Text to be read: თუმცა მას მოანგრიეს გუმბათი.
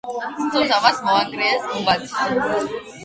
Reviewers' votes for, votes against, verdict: 8, 0, accepted